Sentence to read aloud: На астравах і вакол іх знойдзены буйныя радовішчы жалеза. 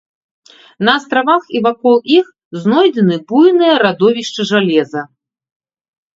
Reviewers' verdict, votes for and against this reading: accepted, 2, 0